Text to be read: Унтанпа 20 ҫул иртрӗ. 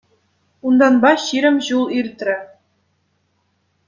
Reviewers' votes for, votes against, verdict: 0, 2, rejected